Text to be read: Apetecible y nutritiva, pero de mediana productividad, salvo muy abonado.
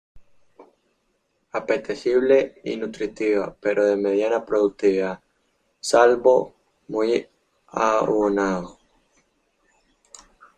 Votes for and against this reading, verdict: 0, 2, rejected